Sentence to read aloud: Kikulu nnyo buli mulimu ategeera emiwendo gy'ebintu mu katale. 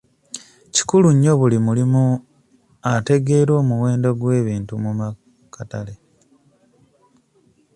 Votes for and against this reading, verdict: 1, 2, rejected